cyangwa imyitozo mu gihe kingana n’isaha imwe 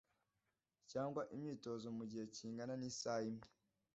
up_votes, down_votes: 2, 0